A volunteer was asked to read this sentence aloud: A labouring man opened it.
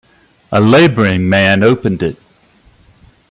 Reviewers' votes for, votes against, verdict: 2, 0, accepted